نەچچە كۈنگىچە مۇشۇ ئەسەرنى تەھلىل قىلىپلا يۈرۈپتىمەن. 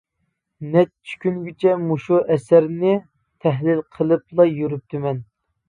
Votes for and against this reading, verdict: 2, 0, accepted